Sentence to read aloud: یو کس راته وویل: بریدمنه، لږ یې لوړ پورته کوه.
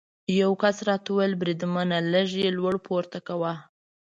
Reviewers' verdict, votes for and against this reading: accepted, 2, 0